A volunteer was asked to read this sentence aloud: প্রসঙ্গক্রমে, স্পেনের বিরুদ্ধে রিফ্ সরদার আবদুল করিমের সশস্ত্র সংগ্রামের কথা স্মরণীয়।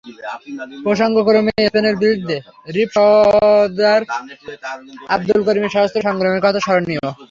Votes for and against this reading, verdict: 0, 3, rejected